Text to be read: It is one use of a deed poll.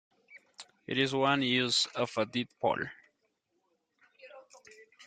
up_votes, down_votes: 1, 2